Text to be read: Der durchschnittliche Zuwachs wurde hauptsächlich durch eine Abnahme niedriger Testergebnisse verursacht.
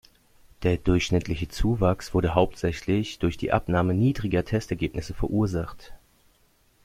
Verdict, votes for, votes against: rejected, 1, 2